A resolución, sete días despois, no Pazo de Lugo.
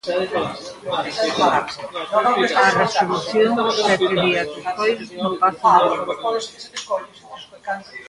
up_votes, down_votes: 0, 2